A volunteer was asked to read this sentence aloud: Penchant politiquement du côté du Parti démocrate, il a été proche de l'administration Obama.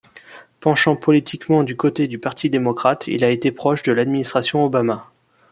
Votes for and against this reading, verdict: 2, 0, accepted